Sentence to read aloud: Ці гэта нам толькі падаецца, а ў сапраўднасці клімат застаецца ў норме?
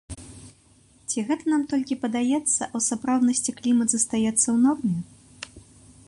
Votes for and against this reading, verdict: 2, 0, accepted